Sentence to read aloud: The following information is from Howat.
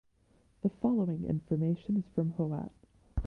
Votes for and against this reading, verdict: 2, 0, accepted